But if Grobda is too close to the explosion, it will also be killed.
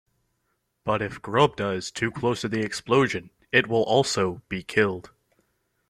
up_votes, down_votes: 2, 1